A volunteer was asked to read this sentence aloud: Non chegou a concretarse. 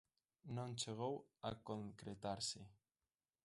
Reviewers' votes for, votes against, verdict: 2, 1, accepted